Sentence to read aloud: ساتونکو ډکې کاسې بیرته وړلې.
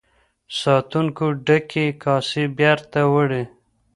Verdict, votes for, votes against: rejected, 1, 2